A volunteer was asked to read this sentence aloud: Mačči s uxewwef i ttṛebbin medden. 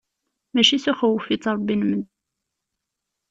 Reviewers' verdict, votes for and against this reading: rejected, 0, 2